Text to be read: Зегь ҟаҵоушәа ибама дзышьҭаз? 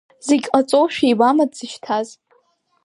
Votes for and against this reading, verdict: 3, 0, accepted